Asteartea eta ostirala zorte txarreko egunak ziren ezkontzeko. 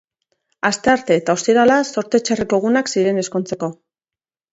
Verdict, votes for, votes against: accepted, 2, 1